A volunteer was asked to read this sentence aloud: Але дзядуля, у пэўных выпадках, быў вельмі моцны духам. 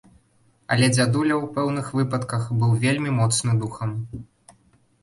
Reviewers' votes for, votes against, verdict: 2, 0, accepted